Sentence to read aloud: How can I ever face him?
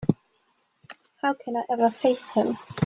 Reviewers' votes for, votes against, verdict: 2, 0, accepted